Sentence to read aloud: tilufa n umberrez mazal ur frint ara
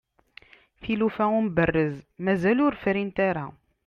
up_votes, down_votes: 2, 0